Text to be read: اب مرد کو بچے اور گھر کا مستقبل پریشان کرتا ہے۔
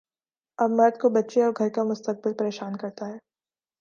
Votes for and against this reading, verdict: 2, 0, accepted